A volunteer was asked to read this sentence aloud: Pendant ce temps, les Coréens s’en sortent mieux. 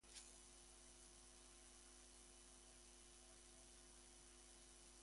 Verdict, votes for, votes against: rejected, 0, 2